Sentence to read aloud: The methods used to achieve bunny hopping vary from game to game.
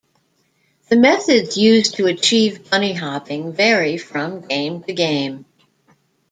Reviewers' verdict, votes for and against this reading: rejected, 0, 2